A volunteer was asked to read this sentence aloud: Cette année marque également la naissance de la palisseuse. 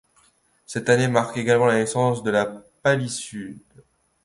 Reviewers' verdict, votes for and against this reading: rejected, 0, 2